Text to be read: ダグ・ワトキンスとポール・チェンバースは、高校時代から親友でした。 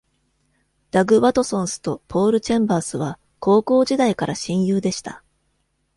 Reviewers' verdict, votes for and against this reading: rejected, 1, 2